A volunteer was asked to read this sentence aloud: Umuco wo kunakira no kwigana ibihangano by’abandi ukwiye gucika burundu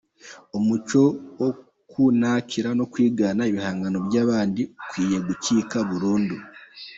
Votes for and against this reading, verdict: 2, 1, accepted